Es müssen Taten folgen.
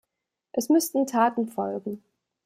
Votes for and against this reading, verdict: 0, 2, rejected